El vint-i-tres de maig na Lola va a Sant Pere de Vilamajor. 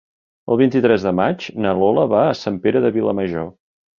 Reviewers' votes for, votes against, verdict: 3, 0, accepted